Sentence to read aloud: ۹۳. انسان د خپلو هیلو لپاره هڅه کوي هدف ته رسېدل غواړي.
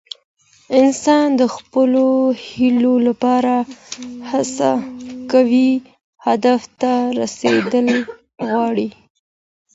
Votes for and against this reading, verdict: 0, 2, rejected